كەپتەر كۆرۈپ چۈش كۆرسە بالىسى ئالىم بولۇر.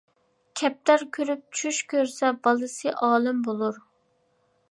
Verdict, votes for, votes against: accepted, 2, 0